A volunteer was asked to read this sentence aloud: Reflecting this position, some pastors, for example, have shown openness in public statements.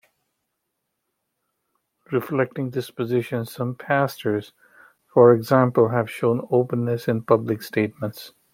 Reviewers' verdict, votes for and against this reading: accepted, 2, 0